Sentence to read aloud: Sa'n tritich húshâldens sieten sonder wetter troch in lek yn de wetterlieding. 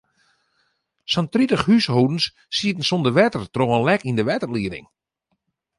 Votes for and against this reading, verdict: 2, 0, accepted